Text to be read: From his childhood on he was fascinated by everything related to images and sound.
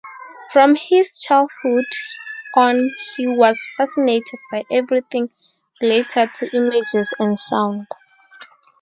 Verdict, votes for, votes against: rejected, 0, 4